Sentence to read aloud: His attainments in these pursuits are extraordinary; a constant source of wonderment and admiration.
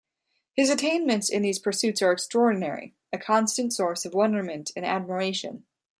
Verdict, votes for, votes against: accepted, 2, 0